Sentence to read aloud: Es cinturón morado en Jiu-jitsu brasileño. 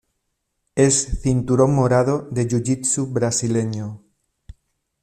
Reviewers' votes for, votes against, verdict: 1, 2, rejected